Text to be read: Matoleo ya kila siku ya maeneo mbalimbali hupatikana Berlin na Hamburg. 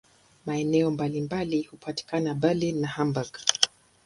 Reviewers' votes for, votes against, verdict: 0, 2, rejected